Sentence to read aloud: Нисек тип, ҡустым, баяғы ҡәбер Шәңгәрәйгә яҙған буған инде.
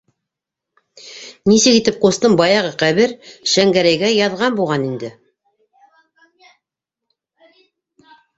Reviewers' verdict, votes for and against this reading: rejected, 0, 2